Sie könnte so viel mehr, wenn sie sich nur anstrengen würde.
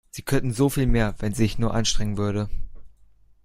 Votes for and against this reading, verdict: 1, 2, rejected